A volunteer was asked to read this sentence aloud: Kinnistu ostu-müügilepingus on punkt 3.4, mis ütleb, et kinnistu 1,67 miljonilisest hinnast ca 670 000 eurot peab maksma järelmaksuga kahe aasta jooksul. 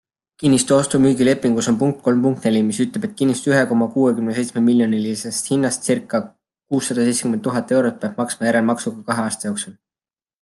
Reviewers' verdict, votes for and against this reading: rejected, 0, 2